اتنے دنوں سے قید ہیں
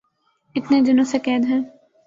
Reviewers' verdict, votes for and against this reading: accepted, 2, 0